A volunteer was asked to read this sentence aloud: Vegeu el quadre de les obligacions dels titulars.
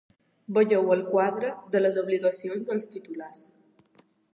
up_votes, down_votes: 2, 0